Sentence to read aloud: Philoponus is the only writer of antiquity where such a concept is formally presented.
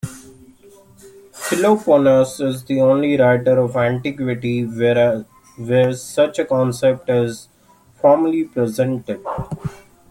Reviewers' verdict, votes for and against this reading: rejected, 0, 2